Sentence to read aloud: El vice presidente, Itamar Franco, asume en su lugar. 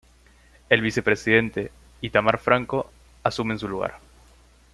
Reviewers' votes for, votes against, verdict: 2, 1, accepted